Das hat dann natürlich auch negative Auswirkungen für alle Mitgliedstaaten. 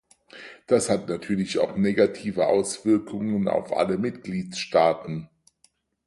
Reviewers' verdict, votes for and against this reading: rejected, 0, 4